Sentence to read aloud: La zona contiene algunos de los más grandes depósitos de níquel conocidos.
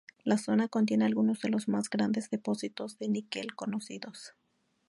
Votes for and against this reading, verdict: 2, 0, accepted